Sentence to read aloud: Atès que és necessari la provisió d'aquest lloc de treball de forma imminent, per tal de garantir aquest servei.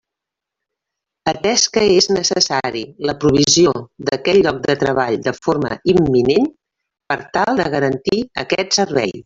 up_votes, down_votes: 1, 2